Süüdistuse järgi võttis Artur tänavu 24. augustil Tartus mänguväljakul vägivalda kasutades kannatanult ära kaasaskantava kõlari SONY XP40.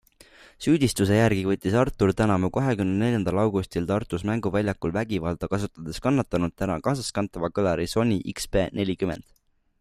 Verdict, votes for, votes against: rejected, 0, 2